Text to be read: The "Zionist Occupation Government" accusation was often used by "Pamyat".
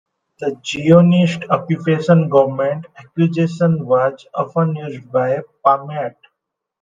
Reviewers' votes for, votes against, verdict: 1, 2, rejected